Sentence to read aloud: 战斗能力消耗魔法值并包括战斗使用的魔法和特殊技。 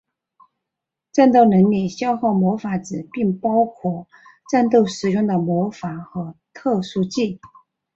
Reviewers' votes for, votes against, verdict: 2, 1, accepted